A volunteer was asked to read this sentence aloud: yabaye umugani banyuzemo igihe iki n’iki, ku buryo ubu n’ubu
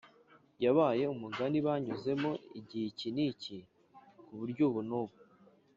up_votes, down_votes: 5, 0